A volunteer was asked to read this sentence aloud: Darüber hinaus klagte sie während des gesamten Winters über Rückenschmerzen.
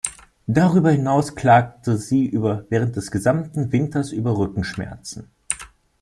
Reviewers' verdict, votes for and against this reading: rejected, 0, 2